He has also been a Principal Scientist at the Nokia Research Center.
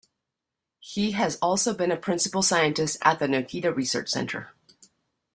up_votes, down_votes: 1, 2